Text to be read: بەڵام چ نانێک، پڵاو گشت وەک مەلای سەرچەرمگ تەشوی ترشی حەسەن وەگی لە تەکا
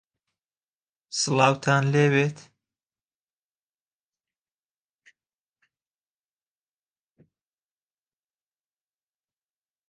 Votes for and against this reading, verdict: 0, 2, rejected